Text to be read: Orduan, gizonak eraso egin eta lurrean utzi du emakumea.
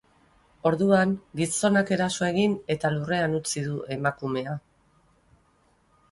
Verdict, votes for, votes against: accepted, 4, 0